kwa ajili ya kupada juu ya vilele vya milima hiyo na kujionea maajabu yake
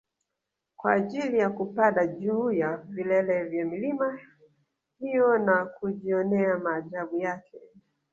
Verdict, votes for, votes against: accepted, 2, 1